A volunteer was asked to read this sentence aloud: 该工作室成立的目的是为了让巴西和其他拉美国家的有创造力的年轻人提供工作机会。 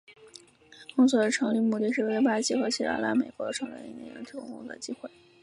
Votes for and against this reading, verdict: 0, 3, rejected